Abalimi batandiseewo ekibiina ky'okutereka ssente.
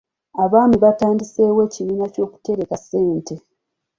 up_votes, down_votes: 2, 1